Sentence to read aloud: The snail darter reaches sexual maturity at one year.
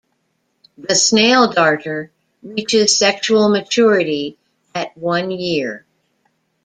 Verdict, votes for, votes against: accepted, 2, 0